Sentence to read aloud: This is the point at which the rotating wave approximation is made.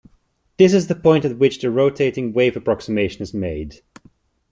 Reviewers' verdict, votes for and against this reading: accepted, 2, 0